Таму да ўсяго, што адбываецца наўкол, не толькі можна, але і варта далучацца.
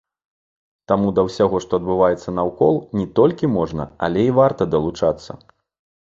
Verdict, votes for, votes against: accepted, 2, 0